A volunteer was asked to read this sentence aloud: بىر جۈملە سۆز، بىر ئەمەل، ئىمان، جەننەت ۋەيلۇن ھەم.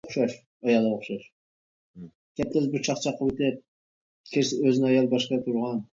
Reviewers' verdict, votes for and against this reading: rejected, 0, 3